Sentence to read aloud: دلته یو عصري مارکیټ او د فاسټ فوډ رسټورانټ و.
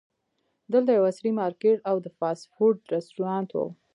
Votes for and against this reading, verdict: 0, 2, rejected